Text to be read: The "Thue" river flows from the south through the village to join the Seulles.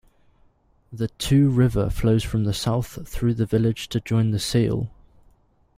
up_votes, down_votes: 0, 2